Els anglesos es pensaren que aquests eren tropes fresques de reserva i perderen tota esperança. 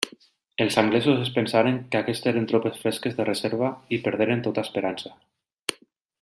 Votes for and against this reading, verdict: 2, 0, accepted